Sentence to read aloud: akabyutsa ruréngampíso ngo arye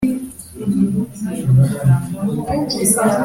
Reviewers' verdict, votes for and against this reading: rejected, 0, 3